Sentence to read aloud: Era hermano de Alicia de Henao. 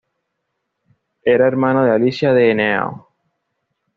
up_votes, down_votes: 2, 0